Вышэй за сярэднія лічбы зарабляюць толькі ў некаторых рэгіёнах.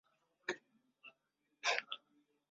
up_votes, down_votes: 0, 2